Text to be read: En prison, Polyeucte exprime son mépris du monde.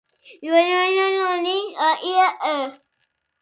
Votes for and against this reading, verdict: 0, 2, rejected